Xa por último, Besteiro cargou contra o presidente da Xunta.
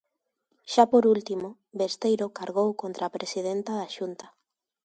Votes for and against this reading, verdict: 0, 2, rejected